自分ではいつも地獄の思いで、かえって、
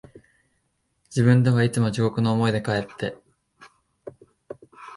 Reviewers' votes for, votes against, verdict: 1, 2, rejected